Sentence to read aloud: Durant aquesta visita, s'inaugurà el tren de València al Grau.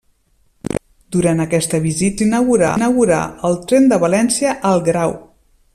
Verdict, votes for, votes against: rejected, 0, 2